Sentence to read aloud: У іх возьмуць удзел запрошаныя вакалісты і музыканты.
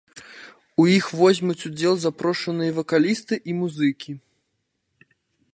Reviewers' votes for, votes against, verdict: 0, 2, rejected